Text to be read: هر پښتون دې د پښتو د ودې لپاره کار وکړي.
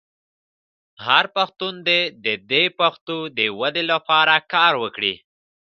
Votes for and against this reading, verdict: 2, 0, accepted